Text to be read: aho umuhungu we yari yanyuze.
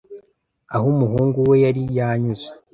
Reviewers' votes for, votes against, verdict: 2, 0, accepted